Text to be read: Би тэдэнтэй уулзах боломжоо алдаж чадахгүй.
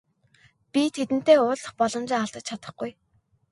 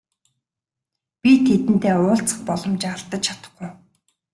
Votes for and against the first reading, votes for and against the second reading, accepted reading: 3, 0, 0, 2, first